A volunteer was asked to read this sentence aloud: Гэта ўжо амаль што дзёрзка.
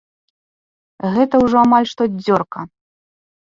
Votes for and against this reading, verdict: 0, 2, rejected